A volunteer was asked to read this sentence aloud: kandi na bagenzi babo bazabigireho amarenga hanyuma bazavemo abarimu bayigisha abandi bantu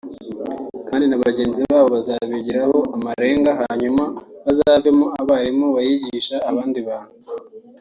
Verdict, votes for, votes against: accepted, 4, 0